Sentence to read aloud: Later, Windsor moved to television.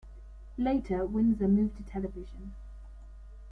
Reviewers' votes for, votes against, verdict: 0, 2, rejected